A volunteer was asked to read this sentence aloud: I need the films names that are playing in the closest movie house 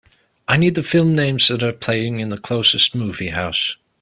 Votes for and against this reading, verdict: 2, 1, accepted